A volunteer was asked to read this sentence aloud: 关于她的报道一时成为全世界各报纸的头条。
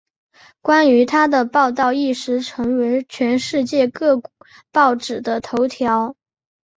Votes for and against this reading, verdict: 0, 2, rejected